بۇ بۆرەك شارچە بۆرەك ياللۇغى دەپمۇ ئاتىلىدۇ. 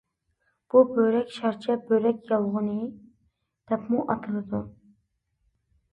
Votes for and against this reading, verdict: 1, 2, rejected